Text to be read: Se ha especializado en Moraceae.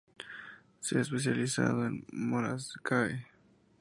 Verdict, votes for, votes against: rejected, 2, 6